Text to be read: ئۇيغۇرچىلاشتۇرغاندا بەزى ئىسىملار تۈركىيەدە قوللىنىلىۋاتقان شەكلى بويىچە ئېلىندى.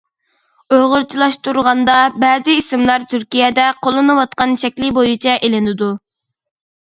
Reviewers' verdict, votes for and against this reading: rejected, 1, 2